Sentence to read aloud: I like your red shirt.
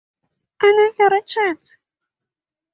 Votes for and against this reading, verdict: 0, 2, rejected